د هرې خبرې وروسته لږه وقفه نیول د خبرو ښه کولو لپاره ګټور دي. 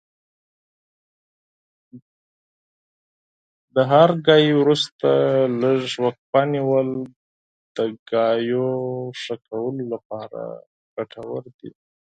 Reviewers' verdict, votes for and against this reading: rejected, 0, 8